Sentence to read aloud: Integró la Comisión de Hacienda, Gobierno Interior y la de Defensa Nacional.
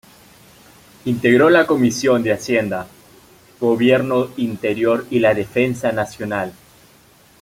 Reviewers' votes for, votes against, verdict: 0, 2, rejected